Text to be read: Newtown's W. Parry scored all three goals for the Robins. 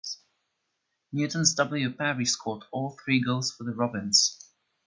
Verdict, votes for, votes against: accepted, 2, 0